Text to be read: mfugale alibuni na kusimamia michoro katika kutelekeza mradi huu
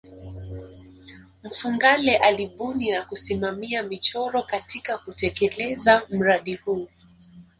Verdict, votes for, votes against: rejected, 1, 2